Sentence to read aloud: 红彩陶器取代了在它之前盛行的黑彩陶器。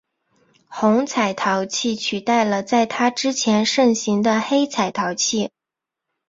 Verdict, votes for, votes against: accepted, 3, 0